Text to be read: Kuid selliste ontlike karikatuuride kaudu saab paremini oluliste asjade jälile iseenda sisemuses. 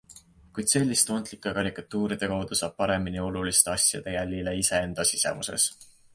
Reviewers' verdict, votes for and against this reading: accepted, 2, 0